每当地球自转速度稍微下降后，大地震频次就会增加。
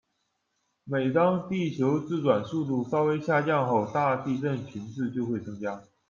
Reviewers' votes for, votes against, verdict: 2, 0, accepted